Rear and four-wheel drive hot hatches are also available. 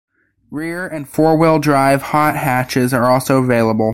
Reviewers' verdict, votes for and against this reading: accepted, 2, 0